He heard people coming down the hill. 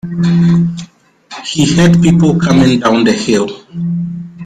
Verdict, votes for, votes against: rejected, 0, 2